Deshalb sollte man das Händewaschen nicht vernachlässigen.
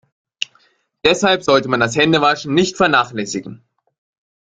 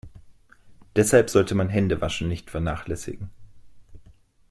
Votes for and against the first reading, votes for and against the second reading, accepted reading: 2, 0, 0, 2, first